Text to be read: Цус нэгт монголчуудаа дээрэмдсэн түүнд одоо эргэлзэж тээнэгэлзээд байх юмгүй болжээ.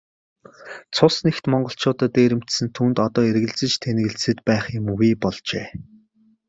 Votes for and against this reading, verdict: 2, 1, accepted